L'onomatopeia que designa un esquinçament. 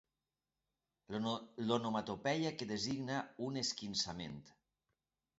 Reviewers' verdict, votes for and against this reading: rejected, 1, 2